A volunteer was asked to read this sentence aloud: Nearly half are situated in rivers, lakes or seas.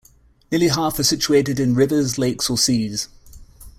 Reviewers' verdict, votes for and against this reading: accepted, 2, 0